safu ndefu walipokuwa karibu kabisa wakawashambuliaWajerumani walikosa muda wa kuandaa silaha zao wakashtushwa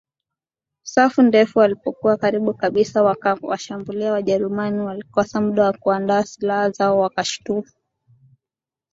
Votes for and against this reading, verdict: 1, 2, rejected